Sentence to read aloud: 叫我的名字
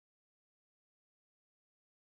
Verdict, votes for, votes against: rejected, 0, 2